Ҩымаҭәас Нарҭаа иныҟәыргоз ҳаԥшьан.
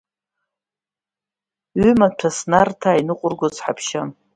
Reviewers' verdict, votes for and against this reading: rejected, 0, 2